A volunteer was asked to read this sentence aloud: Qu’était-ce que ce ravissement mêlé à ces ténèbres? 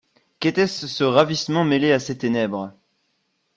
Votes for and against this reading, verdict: 0, 2, rejected